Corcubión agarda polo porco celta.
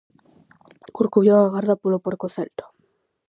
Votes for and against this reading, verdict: 4, 0, accepted